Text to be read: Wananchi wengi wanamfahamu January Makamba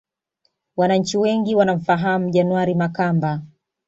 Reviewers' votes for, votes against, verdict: 2, 0, accepted